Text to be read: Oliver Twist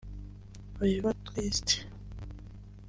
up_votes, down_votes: 1, 2